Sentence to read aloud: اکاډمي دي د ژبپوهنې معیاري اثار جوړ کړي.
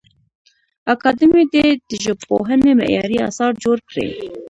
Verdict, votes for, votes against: rejected, 1, 2